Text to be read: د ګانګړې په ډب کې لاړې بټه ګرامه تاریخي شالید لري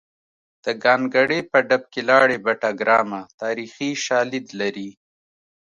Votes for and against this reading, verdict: 2, 0, accepted